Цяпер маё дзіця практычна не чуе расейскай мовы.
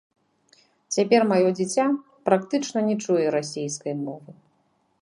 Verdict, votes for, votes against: rejected, 0, 2